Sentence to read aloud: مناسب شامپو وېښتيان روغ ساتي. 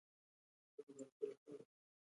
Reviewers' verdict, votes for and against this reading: rejected, 0, 2